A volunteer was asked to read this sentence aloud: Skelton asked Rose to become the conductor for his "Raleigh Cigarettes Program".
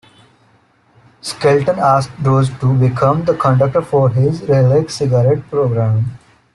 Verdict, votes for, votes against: rejected, 0, 2